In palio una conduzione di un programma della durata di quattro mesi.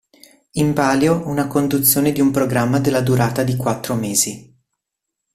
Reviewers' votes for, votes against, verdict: 2, 0, accepted